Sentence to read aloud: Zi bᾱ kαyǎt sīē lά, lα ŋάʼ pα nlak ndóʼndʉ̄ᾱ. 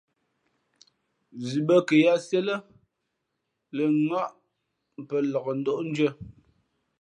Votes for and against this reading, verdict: 3, 0, accepted